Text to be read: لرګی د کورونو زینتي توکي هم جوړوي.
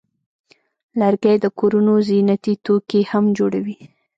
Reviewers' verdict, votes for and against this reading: rejected, 1, 2